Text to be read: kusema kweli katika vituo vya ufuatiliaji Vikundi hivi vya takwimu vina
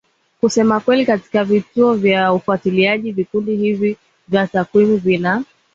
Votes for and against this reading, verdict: 1, 2, rejected